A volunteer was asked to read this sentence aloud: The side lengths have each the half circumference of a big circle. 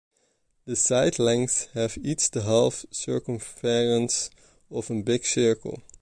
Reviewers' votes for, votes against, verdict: 0, 2, rejected